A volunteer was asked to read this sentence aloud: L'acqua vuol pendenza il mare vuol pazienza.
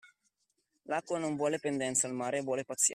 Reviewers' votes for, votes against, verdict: 0, 2, rejected